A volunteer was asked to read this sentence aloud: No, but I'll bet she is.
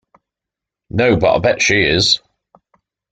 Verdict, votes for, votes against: accepted, 2, 1